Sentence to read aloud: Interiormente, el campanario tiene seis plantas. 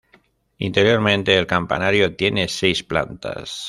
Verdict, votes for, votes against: accepted, 2, 0